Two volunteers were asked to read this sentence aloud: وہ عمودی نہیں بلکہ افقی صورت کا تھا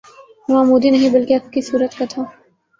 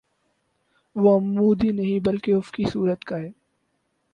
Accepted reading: first